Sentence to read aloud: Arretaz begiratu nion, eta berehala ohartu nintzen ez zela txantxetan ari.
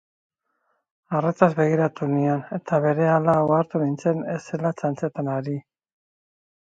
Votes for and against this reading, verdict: 4, 0, accepted